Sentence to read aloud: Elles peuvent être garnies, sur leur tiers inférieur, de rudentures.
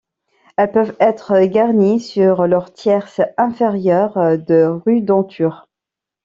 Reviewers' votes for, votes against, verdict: 1, 2, rejected